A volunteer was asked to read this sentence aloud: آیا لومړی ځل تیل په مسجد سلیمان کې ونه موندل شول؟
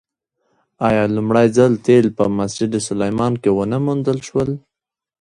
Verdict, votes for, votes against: accepted, 2, 1